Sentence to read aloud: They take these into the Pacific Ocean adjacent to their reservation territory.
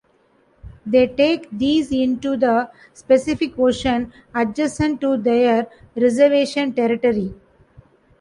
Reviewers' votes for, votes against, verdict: 0, 2, rejected